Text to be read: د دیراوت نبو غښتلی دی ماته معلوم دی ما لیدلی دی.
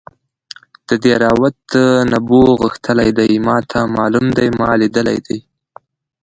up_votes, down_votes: 0, 2